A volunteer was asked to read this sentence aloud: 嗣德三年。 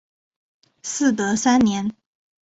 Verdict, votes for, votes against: accepted, 3, 0